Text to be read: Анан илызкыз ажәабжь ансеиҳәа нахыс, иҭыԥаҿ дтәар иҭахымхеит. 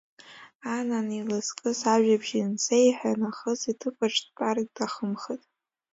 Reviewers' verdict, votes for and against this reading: accepted, 2, 0